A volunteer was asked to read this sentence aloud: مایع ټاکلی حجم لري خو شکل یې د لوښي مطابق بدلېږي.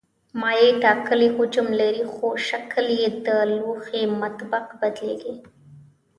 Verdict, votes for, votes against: rejected, 2, 3